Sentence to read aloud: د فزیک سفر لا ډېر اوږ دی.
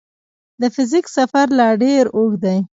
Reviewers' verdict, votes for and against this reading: accepted, 2, 0